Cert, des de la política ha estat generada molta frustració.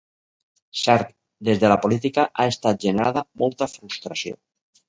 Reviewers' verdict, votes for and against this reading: accepted, 2, 0